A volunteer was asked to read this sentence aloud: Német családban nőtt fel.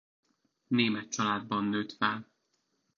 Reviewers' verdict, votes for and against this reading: accepted, 2, 0